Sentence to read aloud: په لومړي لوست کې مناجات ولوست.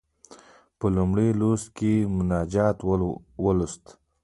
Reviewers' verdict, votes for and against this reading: rejected, 0, 2